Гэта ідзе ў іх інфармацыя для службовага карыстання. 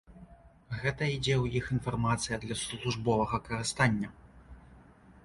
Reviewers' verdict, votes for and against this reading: accepted, 2, 0